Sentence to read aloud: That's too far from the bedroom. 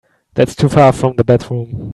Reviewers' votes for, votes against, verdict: 2, 1, accepted